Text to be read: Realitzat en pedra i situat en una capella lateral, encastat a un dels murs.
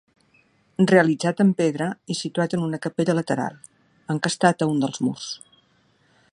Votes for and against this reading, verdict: 2, 0, accepted